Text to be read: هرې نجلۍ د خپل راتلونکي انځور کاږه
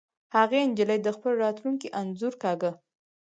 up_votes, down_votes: 2, 4